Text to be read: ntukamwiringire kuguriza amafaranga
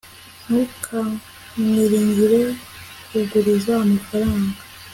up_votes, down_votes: 2, 0